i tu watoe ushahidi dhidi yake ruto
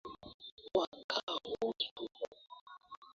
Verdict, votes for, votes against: rejected, 0, 2